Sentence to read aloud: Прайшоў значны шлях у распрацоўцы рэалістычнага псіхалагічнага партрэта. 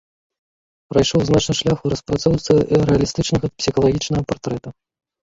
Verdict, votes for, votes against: accepted, 2, 0